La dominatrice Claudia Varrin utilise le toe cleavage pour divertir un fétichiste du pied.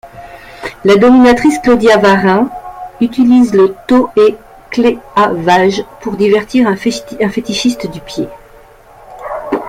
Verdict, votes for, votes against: rejected, 0, 2